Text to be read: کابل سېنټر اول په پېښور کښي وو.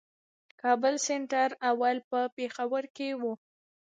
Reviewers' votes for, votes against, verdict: 2, 1, accepted